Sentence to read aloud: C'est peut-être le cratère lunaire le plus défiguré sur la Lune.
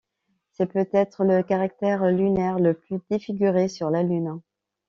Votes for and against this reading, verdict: 0, 2, rejected